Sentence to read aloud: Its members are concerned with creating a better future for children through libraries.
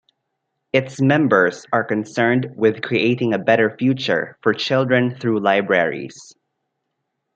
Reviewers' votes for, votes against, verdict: 2, 0, accepted